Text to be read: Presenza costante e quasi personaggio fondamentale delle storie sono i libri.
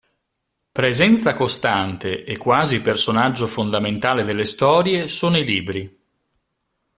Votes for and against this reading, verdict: 2, 0, accepted